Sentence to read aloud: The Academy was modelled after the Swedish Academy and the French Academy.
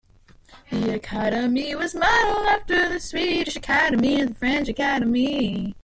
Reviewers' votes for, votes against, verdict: 2, 1, accepted